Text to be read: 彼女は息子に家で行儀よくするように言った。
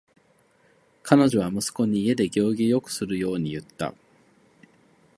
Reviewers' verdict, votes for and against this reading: rejected, 4, 4